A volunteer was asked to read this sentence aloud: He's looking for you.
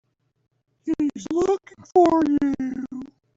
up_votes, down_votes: 2, 4